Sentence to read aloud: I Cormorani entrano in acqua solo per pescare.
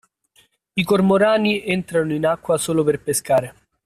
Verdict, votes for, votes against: accepted, 2, 0